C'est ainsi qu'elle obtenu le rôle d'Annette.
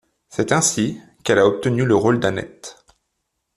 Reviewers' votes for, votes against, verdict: 1, 2, rejected